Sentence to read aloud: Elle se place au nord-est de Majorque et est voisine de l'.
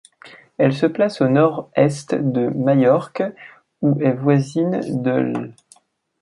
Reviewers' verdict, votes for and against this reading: rejected, 0, 2